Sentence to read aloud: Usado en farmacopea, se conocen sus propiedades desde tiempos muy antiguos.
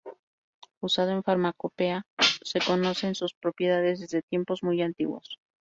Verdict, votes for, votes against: rejected, 0, 2